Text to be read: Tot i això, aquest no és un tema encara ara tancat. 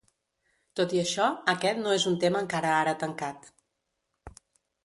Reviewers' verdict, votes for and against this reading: accepted, 2, 0